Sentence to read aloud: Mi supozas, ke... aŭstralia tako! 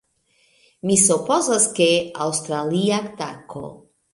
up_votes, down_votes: 1, 2